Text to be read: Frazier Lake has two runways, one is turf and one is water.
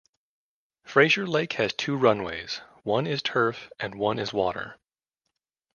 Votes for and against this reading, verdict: 2, 0, accepted